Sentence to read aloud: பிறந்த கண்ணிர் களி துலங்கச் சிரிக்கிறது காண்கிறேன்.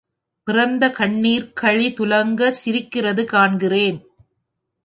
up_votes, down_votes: 0, 2